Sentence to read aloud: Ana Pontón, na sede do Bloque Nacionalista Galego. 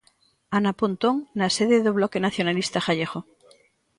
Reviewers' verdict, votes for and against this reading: rejected, 1, 2